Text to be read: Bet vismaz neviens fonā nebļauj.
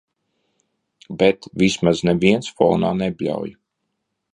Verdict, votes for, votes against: accepted, 2, 0